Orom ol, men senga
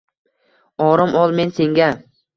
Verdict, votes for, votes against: accepted, 2, 0